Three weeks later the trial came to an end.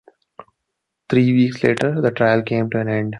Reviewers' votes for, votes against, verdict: 2, 1, accepted